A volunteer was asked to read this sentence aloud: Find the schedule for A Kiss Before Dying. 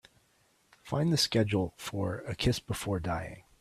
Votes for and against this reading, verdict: 2, 0, accepted